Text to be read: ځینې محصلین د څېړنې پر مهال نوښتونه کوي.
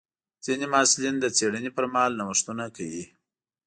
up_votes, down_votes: 2, 0